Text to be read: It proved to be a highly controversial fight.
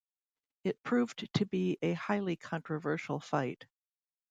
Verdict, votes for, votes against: rejected, 1, 2